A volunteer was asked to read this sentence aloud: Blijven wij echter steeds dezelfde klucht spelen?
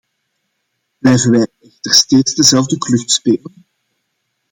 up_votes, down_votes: 0, 2